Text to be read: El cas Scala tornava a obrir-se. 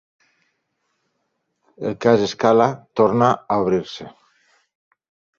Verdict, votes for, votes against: rejected, 1, 2